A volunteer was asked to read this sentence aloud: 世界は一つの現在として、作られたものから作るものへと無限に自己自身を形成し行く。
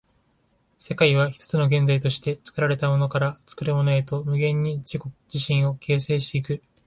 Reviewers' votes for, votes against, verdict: 2, 0, accepted